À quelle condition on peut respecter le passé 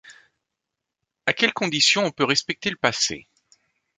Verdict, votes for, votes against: accepted, 2, 0